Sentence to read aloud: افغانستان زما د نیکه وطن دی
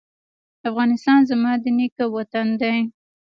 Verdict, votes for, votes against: accepted, 2, 1